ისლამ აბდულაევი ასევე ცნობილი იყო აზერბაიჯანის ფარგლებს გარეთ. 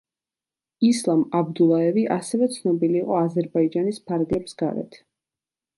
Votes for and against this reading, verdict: 2, 0, accepted